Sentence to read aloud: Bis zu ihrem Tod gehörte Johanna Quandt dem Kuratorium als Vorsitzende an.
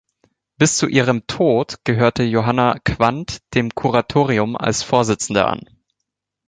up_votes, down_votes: 2, 0